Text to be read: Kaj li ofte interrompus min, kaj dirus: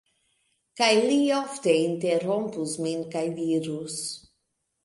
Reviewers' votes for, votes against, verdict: 2, 1, accepted